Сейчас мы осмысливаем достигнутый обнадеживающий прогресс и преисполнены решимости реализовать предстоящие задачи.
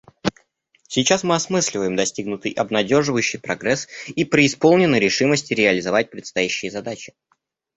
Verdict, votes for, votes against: accepted, 2, 0